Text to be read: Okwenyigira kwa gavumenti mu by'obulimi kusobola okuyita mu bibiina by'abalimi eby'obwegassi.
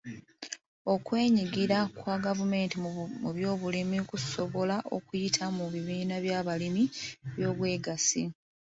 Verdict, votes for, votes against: rejected, 0, 2